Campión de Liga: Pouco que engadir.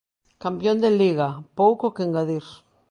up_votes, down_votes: 2, 0